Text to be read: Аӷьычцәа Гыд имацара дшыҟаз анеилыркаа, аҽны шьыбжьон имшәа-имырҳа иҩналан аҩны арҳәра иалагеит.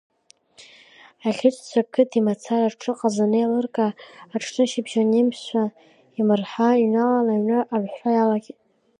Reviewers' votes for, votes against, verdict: 2, 3, rejected